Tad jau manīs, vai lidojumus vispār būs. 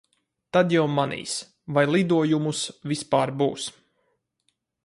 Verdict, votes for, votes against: rejected, 2, 2